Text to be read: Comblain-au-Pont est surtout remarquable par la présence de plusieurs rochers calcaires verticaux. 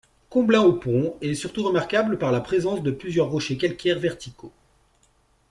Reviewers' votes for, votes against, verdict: 2, 0, accepted